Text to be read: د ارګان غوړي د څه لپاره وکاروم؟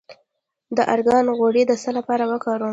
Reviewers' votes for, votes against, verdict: 0, 2, rejected